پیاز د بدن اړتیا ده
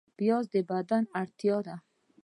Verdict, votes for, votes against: accepted, 2, 1